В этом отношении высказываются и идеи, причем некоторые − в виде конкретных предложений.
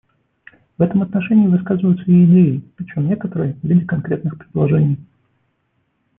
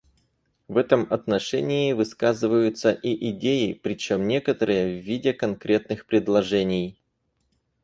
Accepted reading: second